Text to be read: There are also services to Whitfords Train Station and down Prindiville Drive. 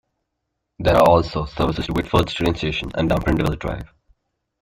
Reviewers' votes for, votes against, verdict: 0, 2, rejected